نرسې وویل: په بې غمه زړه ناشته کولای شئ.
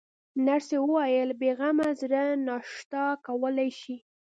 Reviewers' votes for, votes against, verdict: 0, 2, rejected